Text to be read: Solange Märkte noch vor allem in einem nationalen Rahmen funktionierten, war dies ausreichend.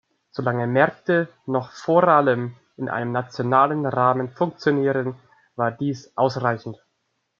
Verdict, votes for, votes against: rejected, 0, 2